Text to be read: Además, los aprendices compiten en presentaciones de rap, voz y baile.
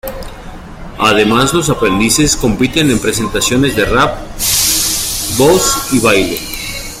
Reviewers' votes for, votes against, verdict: 2, 1, accepted